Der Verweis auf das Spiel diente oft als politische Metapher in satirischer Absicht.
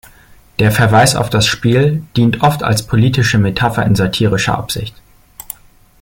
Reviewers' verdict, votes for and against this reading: rejected, 1, 2